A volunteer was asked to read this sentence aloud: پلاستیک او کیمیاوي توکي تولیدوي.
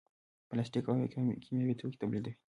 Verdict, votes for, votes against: accepted, 2, 1